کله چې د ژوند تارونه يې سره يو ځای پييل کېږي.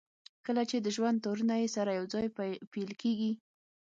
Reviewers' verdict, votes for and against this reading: rejected, 3, 6